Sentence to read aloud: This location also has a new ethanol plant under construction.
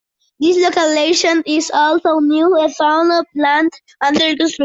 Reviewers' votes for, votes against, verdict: 0, 2, rejected